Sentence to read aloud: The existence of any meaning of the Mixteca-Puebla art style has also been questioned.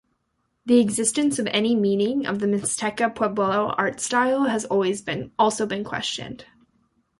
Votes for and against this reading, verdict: 0, 2, rejected